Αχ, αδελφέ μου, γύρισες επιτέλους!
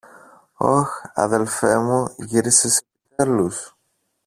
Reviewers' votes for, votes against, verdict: 0, 2, rejected